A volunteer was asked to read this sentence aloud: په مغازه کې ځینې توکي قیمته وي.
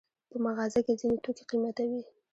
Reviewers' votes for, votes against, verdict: 2, 0, accepted